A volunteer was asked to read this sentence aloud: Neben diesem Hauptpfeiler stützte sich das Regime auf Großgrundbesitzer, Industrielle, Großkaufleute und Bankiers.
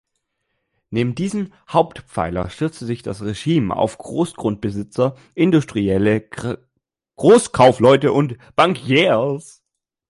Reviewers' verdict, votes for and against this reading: rejected, 0, 2